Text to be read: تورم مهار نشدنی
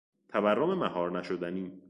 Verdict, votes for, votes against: accepted, 2, 0